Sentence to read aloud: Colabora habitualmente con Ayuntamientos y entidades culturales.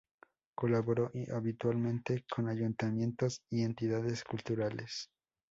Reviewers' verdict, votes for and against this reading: accepted, 2, 0